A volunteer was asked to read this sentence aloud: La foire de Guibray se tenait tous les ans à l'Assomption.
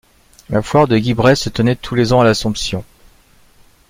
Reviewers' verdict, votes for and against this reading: accepted, 2, 0